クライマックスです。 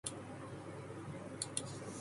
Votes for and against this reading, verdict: 0, 2, rejected